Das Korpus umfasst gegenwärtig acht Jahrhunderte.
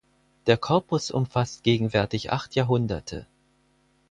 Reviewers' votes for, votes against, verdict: 2, 4, rejected